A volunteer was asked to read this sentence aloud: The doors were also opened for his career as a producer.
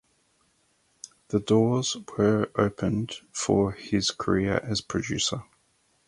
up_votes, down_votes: 0, 4